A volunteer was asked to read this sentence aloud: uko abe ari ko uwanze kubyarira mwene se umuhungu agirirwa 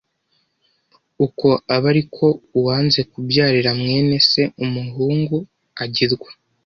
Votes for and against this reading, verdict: 0, 2, rejected